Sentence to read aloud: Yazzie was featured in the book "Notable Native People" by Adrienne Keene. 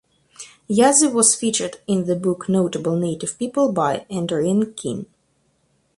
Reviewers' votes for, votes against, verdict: 2, 4, rejected